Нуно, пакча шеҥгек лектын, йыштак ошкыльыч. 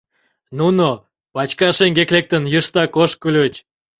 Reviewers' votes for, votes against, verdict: 1, 2, rejected